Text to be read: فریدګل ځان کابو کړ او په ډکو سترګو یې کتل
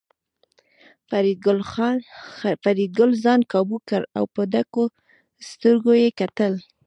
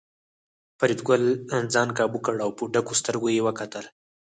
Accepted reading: second